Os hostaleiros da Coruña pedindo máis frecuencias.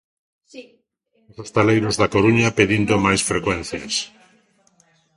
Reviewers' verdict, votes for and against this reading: rejected, 0, 2